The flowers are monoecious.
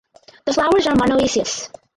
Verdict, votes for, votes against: rejected, 0, 4